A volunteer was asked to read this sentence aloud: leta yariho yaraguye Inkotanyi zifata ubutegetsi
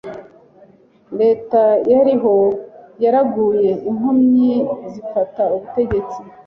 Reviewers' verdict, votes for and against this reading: rejected, 0, 2